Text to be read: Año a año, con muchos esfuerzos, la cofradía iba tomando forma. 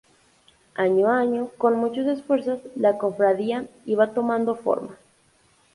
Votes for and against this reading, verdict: 2, 2, rejected